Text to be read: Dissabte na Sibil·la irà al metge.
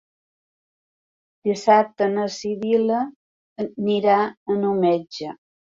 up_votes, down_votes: 0, 4